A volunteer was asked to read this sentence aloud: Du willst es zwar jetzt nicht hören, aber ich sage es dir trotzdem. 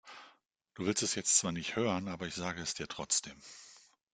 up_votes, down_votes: 1, 2